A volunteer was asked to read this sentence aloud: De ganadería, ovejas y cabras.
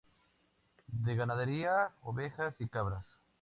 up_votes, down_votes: 2, 2